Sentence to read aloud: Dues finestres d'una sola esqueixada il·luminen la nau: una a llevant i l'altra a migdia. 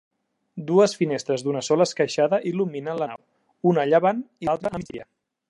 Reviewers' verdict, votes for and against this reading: rejected, 1, 2